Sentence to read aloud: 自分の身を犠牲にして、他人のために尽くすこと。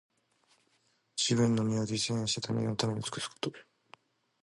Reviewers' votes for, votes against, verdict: 2, 0, accepted